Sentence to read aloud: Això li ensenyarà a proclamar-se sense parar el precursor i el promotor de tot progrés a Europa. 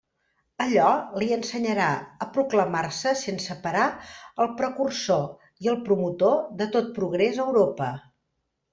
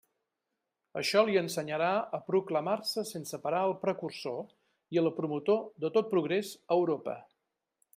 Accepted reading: second